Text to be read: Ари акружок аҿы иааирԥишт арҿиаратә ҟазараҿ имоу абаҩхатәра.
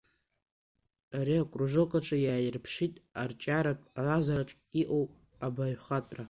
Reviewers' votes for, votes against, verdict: 2, 1, accepted